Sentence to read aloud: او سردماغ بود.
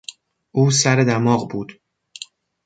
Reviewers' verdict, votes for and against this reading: rejected, 1, 2